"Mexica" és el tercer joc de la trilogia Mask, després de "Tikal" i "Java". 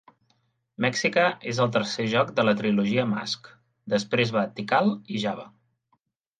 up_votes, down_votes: 3, 2